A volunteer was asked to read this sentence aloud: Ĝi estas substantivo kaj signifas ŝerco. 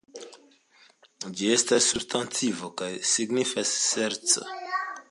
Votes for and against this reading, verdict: 2, 1, accepted